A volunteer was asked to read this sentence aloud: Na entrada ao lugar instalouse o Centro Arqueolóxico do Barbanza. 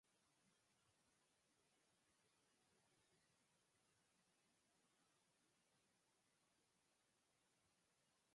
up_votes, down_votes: 0, 4